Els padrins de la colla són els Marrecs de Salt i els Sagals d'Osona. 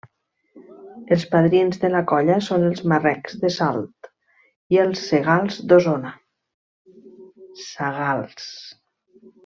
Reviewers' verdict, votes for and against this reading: rejected, 0, 2